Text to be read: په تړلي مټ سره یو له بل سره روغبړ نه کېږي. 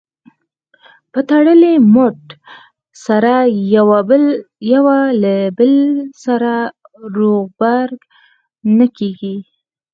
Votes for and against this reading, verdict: 2, 4, rejected